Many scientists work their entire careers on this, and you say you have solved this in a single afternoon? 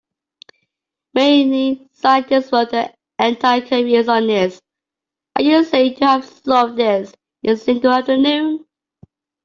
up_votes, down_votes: 0, 2